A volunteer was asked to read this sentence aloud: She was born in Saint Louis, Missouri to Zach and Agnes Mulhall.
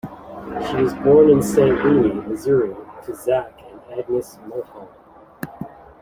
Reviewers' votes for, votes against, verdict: 0, 2, rejected